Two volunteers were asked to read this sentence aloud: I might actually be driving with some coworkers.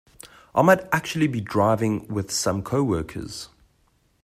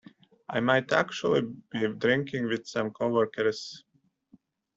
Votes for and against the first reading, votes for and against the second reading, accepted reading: 2, 0, 0, 2, first